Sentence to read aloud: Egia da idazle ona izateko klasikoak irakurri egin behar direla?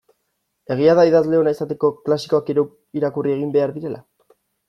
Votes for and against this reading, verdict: 1, 2, rejected